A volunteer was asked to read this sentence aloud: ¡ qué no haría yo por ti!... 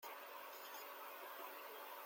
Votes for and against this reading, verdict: 0, 2, rejected